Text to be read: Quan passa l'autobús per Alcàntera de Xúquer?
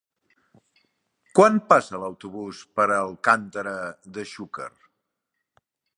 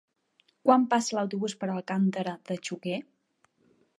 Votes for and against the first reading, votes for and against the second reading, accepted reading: 2, 0, 1, 3, first